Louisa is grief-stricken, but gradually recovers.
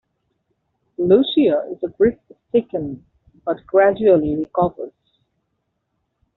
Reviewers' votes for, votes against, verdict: 0, 2, rejected